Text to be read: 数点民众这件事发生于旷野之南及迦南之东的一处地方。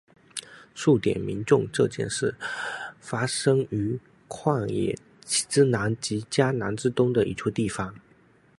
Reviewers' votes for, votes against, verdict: 2, 0, accepted